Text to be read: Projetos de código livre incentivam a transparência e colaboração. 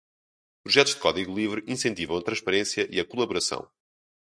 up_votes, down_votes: 0, 2